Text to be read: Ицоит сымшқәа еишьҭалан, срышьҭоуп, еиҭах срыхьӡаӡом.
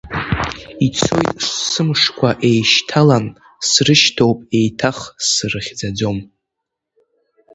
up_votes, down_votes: 1, 2